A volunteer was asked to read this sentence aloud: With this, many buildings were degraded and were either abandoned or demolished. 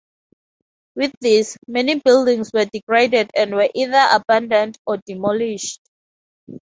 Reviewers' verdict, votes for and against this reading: accepted, 4, 0